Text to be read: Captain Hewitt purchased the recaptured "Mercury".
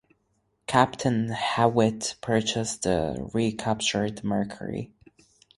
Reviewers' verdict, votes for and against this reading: accepted, 4, 2